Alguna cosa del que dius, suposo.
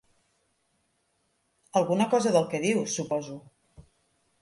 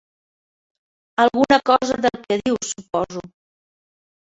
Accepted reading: first